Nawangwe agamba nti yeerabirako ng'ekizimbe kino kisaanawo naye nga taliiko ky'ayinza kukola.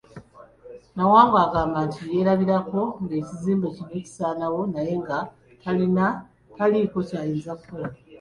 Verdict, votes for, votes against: rejected, 1, 2